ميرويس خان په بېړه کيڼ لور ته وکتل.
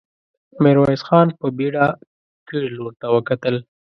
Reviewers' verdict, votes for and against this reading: accepted, 2, 0